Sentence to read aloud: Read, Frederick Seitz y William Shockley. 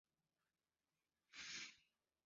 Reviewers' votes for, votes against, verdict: 0, 2, rejected